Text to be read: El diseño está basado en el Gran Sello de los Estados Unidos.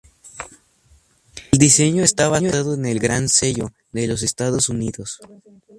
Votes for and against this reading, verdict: 0, 2, rejected